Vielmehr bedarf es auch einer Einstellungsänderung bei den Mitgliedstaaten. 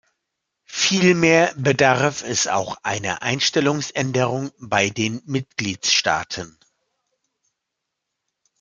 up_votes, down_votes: 2, 0